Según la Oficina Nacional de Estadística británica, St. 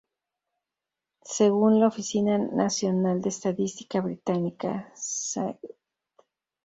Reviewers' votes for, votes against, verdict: 0, 2, rejected